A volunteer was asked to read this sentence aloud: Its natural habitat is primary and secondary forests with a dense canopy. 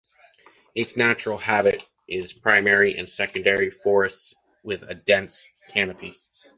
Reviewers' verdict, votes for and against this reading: rejected, 0, 2